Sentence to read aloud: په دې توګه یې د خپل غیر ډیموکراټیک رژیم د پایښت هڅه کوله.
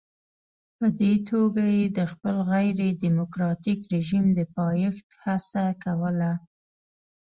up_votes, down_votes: 1, 2